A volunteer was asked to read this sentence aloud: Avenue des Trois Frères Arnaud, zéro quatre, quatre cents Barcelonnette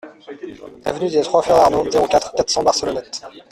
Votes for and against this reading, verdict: 0, 2, rejected